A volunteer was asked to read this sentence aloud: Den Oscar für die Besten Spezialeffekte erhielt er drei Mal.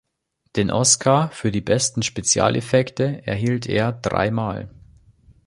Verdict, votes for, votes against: accepted, 2, 0